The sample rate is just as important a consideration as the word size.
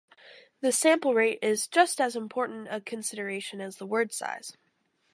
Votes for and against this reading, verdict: 4, 0, accepted